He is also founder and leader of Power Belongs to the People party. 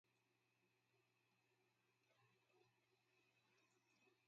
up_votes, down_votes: 0, 2